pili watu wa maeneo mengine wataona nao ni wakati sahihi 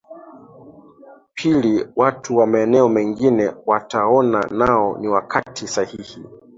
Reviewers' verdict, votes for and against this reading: accepted, 2, 0